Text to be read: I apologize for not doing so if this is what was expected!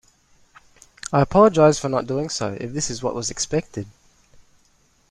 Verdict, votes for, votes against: accepted, 2, 0